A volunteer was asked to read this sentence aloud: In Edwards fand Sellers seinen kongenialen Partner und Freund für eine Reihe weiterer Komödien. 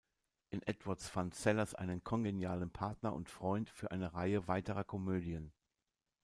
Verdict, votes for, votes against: rejected, 0, 2